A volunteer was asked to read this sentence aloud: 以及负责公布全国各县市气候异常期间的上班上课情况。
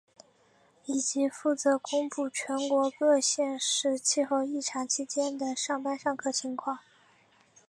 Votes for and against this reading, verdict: 3, 2, accepted